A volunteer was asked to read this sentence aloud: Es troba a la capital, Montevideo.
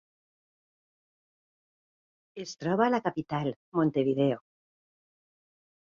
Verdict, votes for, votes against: accepted, 2, 0